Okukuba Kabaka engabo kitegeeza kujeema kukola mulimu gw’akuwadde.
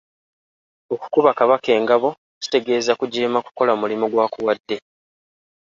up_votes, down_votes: 3, 0